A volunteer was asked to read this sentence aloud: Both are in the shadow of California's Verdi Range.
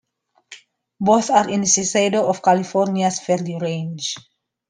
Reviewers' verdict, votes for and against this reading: rejected, 0, 2